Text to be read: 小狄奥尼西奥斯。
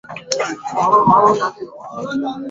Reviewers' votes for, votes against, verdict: 0, 2, rejected